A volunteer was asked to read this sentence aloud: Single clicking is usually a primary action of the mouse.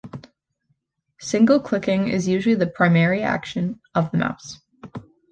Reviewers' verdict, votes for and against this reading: rejected, 1, 2